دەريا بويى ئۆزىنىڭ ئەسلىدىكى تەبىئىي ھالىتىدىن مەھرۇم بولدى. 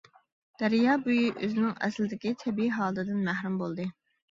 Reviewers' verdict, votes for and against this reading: rejected, 1, 2